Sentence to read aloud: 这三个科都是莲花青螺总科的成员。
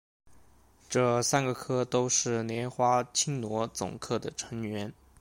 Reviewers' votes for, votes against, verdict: 2, 0, accepted